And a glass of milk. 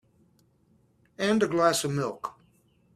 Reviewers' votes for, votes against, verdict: 2, 0, accepted